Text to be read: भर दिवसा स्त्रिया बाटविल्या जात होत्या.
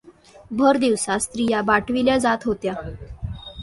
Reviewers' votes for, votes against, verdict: 2, 0, accepted